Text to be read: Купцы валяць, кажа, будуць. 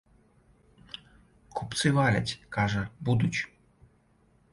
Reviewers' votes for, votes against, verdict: 1, 2, rejected